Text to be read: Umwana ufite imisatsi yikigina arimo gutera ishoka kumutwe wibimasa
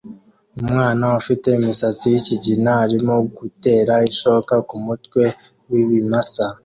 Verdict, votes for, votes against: accepted, 2, 0